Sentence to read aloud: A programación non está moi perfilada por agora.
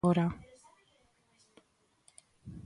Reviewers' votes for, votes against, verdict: 0, 2, rejected